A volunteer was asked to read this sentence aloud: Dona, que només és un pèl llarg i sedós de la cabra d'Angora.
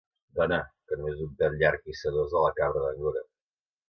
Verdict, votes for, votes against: rejected, 0, 3